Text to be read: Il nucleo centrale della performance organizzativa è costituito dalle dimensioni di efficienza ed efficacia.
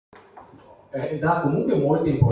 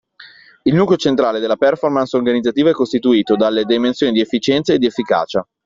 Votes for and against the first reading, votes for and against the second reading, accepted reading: 0, 2, 2, 0, second